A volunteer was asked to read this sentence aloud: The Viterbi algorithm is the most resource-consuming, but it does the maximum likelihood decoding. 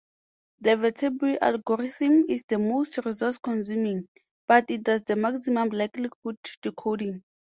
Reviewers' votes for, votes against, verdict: 4, 0, accepted